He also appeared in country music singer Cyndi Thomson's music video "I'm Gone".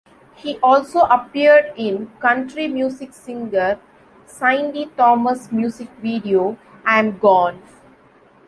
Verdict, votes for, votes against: rejected, 0, 2